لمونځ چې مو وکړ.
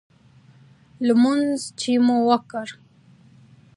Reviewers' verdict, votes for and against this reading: accepted, 2, 0